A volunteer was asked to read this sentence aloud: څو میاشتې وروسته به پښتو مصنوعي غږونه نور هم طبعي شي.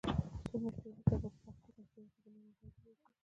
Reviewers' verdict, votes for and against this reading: rejected, 0, 2